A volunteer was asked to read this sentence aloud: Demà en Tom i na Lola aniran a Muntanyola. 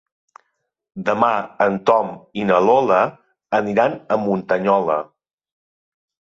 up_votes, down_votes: 3, 0